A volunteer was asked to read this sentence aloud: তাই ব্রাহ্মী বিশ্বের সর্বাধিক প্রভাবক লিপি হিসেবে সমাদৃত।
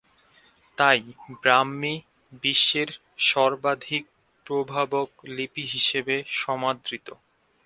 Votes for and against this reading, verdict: 5, 0, accepted